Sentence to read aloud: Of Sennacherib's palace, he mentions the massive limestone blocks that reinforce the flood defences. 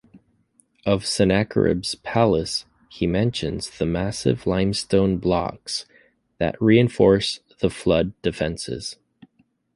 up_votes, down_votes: 3, 0